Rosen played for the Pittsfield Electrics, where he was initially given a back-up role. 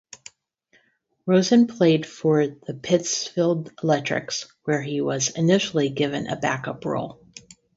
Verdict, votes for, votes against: accepted, 2, 0